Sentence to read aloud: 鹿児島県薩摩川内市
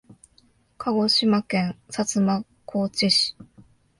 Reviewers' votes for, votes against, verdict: 2, 0, accepted